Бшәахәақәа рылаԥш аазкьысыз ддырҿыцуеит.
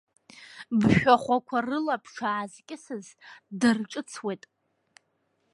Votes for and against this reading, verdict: 1, 2, rejected